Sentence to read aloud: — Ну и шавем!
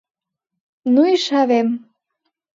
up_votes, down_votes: 2, 0